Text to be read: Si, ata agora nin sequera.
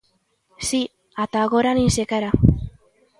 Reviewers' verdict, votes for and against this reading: accepted, 2, 0